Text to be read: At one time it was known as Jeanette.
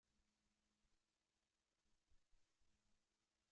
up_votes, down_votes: 0, 2